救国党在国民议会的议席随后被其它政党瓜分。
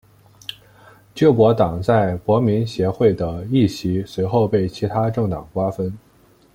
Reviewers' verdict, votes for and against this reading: rejected, 0, 2